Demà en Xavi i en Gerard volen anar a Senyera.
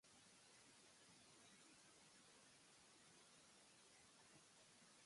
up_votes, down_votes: 0, 3